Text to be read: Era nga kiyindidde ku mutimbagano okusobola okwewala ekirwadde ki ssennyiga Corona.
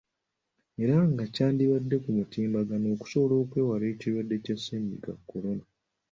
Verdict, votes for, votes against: rejected, 0, 2